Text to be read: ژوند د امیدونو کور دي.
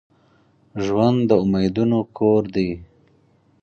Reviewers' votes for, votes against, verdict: 4, 0, accepted